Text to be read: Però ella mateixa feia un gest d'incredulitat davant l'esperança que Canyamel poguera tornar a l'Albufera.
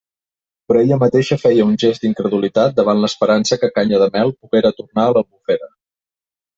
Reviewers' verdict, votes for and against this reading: rejected, 1, 2